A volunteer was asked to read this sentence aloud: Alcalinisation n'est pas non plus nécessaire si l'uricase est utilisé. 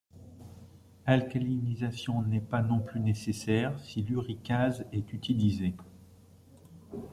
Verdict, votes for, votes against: accepted, 2, 0